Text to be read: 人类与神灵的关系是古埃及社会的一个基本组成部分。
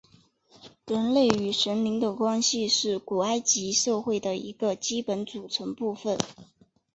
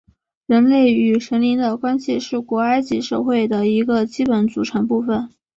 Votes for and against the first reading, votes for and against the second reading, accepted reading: 0, 2, 2, 0, second